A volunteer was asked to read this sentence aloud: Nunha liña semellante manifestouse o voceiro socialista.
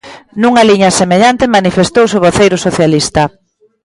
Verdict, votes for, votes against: rejected, 1, 2